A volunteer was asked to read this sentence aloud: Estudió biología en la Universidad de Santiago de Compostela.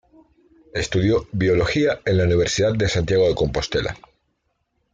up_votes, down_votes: 2, 0